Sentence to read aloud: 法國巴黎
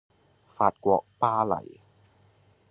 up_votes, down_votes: 2, 0